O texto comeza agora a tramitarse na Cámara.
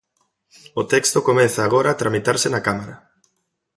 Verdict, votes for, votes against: accepted, 2, 0